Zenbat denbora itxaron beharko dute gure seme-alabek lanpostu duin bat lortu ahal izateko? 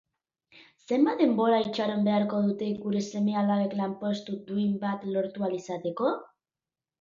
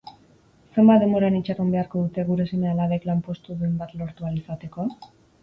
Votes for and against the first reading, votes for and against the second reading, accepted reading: 3, 0, 0, 4, first